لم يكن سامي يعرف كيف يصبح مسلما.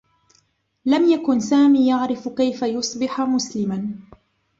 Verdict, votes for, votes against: rejected, 1, 2